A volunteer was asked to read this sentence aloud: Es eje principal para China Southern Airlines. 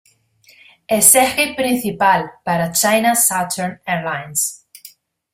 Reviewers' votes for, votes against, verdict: 2, 0, accepted